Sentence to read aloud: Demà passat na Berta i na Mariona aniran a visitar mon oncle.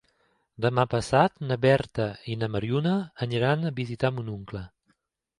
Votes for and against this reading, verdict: 2, 0, accepted